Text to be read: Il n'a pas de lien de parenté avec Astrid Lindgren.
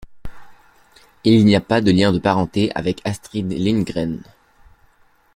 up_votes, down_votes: 2, 0